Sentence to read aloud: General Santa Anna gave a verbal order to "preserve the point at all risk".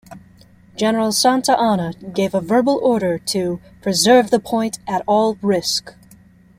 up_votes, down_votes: 2, 0